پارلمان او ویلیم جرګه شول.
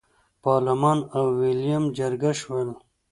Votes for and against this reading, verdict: 2, 0, accepted